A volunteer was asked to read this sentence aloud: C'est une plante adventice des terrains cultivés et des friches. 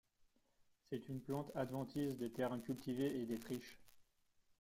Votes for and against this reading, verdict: 1, 2, rejected